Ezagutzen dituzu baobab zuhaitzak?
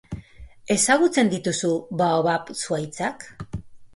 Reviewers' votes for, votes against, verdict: 2, 0, accepted